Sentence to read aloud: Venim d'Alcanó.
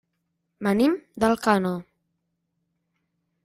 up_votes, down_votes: 0, 2